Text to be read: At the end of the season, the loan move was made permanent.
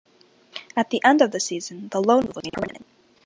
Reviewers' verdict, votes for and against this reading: rejected, 0, 2